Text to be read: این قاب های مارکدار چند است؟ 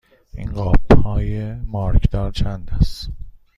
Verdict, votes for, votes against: accepted, 2, 0